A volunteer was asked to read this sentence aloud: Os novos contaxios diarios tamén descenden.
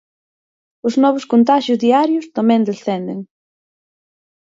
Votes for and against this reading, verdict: 4, 0, accepted